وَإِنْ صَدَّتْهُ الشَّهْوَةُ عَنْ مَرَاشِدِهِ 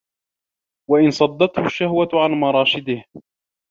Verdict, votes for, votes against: accepted, 2, 0